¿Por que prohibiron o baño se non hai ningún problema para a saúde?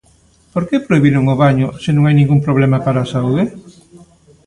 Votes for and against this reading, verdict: 0, 2, rejected